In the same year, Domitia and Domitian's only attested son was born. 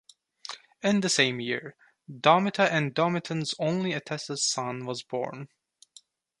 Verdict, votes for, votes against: rejected, 0, 2